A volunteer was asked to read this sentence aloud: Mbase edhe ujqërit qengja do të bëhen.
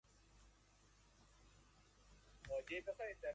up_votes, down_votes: 0, 2